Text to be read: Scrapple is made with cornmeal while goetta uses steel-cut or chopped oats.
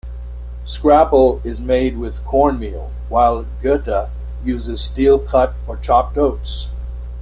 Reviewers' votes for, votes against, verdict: 2, 0, accepted